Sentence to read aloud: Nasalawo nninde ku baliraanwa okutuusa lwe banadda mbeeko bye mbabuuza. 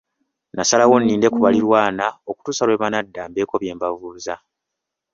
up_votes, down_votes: 0, 2